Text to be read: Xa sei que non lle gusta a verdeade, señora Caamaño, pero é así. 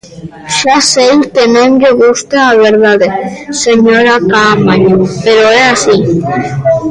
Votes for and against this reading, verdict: 0, 2, rejected